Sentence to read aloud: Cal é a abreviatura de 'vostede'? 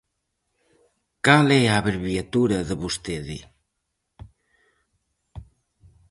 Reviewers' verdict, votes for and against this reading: accepted, 4, 0